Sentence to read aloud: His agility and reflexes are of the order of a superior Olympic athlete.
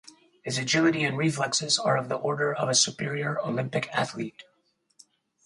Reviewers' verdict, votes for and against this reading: accepted, 4, 0